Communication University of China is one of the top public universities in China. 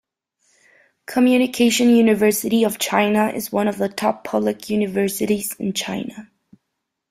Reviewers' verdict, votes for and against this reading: accepted, 2, 0